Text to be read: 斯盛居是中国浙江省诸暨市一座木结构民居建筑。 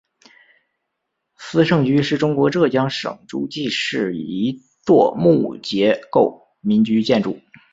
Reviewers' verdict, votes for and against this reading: accepted, 10, 2